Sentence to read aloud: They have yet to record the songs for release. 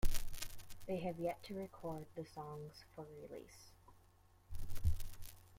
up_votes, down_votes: 2, 1